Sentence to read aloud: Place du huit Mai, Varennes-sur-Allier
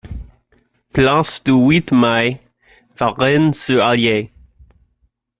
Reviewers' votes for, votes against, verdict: 1, 2, rejected